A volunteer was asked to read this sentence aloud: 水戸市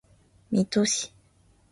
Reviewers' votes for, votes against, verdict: 2, 0, accepted